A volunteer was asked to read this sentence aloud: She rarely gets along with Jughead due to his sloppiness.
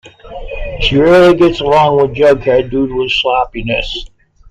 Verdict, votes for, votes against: accepted, 2, 0